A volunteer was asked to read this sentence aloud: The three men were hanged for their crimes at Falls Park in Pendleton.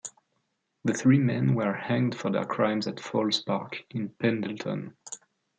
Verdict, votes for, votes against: accepted, 2, 0